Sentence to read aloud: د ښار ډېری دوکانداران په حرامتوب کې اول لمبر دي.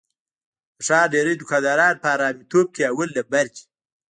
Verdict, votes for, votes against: accepted, 2, 0